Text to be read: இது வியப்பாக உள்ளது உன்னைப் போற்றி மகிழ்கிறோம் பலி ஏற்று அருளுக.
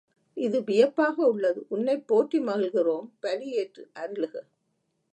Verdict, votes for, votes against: accepted, 2, 0